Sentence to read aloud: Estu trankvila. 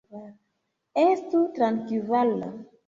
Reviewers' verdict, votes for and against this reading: accepted, 2, 0